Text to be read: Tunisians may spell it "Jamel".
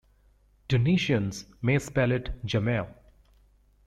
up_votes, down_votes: 2, 0